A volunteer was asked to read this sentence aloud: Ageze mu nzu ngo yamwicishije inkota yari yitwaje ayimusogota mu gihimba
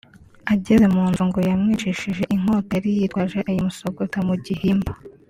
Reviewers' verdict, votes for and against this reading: accepted, 2, 0